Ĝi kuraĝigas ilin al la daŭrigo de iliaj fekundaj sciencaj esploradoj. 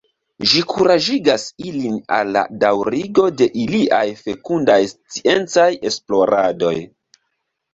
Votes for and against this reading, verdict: 2, 0, accepted